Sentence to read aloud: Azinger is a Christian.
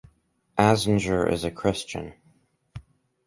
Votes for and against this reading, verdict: 2, 2, rejected